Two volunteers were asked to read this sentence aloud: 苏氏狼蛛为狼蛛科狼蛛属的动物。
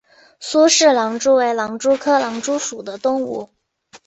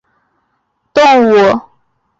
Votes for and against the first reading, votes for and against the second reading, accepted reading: 2, 0, 0, 2, first